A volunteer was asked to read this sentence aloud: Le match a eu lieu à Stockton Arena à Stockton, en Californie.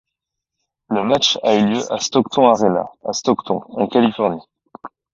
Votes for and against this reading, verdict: 0, 2, rejected